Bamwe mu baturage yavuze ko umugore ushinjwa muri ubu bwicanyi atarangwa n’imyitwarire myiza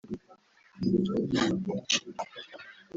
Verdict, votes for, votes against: rejected, 1, 2